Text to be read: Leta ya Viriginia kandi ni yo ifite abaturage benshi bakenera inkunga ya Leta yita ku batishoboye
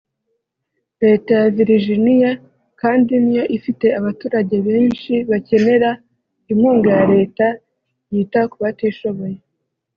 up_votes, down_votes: 2, 0